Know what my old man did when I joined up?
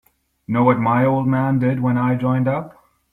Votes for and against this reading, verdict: 2, 0, accepted